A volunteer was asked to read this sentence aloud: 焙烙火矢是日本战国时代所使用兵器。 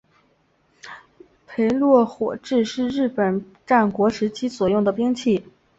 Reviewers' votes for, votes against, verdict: 2, 1, accepted